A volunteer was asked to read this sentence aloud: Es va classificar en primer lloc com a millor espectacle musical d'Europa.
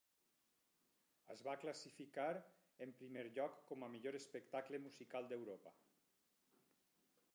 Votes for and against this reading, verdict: 2, 4, rejected